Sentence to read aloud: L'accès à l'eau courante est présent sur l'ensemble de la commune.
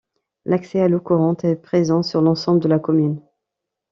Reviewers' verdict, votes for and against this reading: accepted, 2, 0